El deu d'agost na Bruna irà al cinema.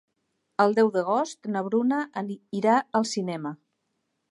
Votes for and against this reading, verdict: 0, 2, rejected